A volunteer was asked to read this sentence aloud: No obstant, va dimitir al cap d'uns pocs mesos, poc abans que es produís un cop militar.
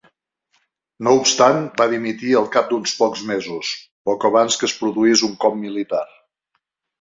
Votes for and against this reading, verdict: 3, 0, accepted